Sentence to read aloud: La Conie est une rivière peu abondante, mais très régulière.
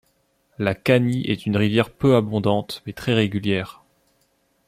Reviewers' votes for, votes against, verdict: 0, 2, rejected